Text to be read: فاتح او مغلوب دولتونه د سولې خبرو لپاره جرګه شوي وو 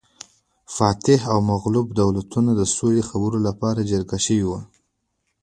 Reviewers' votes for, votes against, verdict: 2, 0, accepted